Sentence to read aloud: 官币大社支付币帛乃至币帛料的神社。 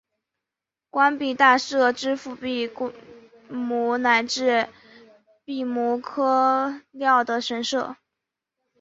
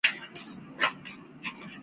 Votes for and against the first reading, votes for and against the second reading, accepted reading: 5, 0, 1, 3, first